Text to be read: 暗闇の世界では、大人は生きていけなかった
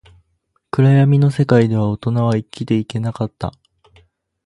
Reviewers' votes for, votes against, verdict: 2, 2, rejected